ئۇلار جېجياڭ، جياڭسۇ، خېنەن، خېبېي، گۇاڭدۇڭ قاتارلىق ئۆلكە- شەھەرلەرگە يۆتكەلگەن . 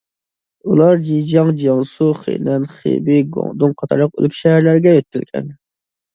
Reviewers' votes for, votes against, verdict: 0, 2, rejected